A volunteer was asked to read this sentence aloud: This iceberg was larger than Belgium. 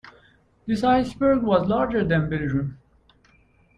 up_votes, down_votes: 2, 0